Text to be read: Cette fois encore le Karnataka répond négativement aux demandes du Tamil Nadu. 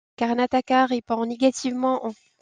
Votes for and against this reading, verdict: 0, 2, rejected